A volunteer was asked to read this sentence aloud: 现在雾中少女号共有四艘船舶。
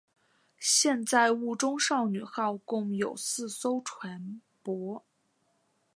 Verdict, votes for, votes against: accepted, 3, 0